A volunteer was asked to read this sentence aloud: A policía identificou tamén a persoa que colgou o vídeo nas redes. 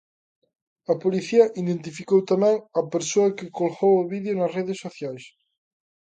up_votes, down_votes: 0, 2